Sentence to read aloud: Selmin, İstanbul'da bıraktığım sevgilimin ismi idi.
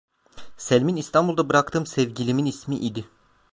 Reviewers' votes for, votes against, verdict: 2, 0, accepted